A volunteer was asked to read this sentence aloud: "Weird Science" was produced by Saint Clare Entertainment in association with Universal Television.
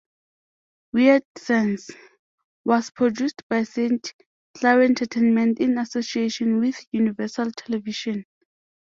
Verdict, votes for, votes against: accepted, 2, 0